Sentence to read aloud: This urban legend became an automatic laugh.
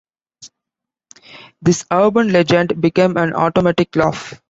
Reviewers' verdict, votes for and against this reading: accepted, 2, 0